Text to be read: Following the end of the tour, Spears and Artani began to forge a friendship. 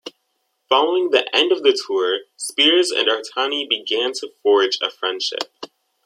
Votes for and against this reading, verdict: 2, 0, accepted